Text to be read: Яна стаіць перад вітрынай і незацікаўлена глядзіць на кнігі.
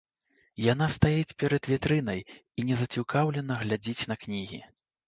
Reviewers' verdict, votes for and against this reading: accepted, 2, 0